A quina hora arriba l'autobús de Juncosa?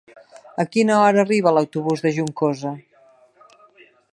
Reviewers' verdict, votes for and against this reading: accepted, 3, 0